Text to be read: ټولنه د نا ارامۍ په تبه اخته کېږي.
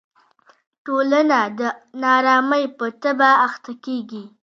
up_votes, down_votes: 2, 0